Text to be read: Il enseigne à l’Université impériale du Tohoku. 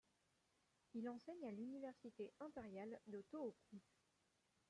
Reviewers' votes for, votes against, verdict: 0, 2, rejected